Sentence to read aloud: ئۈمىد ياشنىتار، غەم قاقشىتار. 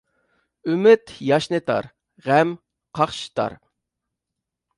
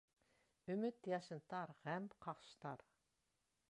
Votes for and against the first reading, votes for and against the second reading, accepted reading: 2, 0, 1, 2, first